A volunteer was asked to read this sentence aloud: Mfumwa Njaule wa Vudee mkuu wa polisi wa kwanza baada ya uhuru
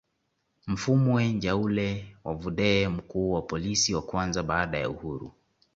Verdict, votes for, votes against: accepted, 2, 1